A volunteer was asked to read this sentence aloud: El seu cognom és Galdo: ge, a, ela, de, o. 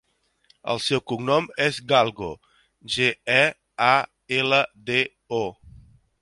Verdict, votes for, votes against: rejected, 0, 3